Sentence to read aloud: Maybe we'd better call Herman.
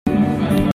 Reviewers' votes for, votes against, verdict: 0, 2, rejected